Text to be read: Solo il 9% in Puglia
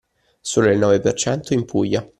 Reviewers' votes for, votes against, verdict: 0, 2, rejected